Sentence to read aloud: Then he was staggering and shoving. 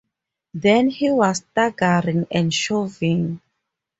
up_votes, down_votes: 0, 2